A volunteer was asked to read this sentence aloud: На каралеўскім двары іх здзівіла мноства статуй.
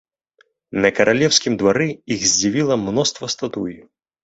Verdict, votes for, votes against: rejected, 0, 2